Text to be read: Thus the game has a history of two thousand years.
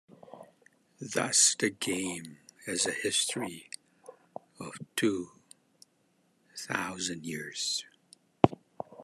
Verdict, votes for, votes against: accepted, 2, 1